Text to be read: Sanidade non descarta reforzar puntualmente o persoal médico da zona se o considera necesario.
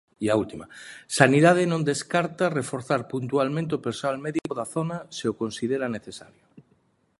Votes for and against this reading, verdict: 1, 2, rejected